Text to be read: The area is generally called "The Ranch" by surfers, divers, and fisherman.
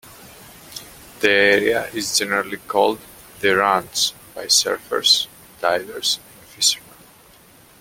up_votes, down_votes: 0, 2